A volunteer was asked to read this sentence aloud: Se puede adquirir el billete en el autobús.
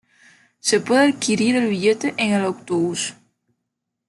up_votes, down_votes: 2, 0